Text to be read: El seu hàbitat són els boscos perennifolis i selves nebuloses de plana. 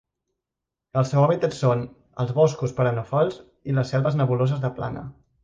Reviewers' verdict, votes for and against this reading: rejected, 0, 3